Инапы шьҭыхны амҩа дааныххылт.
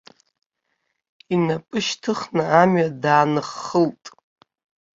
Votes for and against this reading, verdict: 2, 0, accepted